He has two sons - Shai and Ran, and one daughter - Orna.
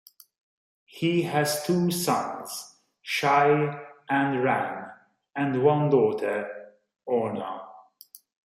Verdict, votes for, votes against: rejected, 1, 2